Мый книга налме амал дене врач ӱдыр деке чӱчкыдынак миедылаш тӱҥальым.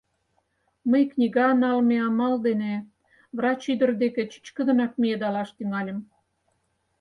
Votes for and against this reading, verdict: 2, 4, rejected